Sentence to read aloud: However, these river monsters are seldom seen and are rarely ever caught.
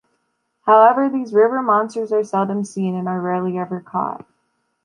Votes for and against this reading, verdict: 1, 2, rejected